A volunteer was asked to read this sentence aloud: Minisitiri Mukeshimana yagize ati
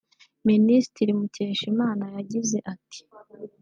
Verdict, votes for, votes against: rejected, 1, 2